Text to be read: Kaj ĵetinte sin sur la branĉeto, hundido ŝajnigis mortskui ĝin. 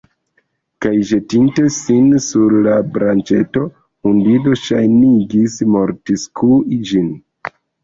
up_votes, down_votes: 2, 1